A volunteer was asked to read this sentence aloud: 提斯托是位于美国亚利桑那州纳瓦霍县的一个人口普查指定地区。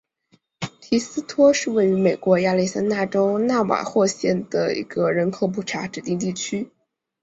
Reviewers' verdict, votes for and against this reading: accepted, 3, 0